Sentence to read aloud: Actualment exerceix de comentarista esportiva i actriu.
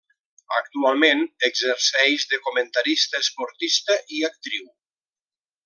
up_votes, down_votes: 0, 2